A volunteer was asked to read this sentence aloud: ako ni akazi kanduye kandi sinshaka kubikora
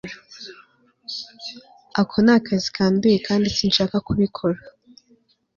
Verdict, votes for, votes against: accepted, 2, 0